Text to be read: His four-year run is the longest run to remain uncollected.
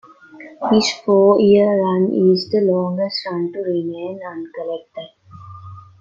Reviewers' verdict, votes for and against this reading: accepted, 2, 0